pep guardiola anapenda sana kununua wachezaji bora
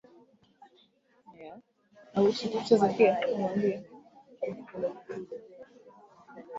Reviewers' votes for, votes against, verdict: 1, 2, rejected